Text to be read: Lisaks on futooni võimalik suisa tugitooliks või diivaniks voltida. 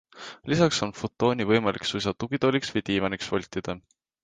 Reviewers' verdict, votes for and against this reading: accepted, 3, 0